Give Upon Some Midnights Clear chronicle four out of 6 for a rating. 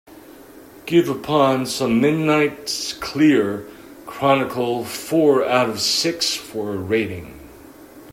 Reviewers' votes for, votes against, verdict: 0, 2, rejected